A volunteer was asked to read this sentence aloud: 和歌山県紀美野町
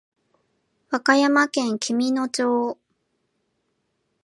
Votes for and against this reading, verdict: 2, 0, accepted